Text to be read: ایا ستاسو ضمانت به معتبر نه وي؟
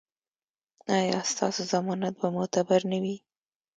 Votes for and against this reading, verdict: 1, 2, rejected